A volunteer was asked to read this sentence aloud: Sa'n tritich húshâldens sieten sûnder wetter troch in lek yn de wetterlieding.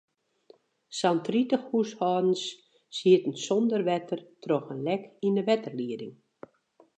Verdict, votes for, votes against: rejected, 2, 2